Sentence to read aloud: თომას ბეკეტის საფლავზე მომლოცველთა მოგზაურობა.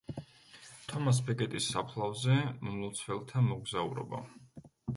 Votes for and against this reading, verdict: 1, 2, rejected